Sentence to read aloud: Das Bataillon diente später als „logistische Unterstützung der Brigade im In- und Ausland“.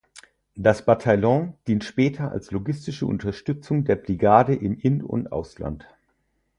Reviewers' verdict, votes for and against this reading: rejected, 0, 4